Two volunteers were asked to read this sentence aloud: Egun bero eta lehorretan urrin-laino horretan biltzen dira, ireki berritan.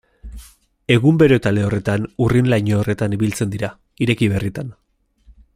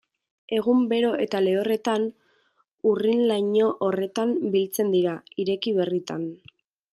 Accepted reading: second